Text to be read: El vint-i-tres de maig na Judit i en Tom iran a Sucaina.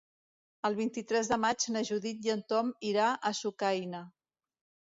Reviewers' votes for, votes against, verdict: 1, 2, rejected